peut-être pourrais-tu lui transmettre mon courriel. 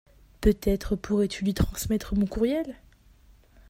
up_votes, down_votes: 2, 0